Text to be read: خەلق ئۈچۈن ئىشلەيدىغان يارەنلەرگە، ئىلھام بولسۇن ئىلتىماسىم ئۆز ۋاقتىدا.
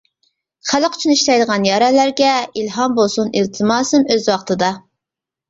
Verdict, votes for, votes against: accepted, 2, 0